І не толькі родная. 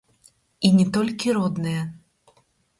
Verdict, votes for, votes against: rejected, 0, 4